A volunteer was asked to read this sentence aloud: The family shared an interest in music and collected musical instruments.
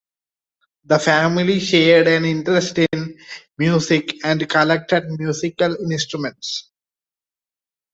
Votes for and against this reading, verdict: 2, 0, accepted